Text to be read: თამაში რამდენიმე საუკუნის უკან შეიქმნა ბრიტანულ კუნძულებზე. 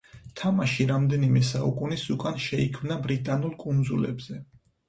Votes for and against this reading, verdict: 4, 0, accepted